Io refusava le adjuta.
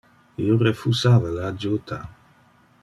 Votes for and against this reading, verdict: 2, 0, accepted